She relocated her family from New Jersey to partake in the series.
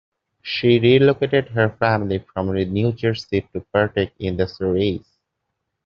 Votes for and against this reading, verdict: 2, 0, accepted